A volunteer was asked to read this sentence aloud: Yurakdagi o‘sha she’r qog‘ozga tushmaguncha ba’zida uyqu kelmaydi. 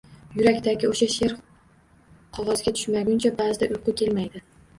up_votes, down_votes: 2, 0